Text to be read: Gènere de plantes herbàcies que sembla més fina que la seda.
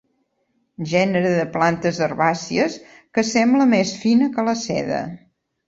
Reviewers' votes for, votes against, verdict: 2, 0, accepted